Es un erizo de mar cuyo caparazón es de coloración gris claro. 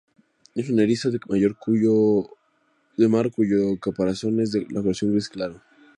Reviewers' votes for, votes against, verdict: 0, 2, rejected